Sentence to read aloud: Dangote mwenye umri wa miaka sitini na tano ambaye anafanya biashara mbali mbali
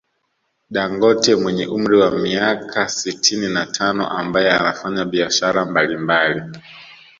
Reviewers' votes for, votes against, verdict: 2, 0, accepted